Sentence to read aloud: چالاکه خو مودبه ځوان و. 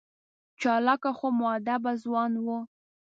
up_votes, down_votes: 2, 0